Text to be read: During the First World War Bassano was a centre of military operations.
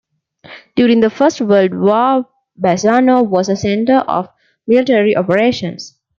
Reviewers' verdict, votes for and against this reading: accepted, 2, 0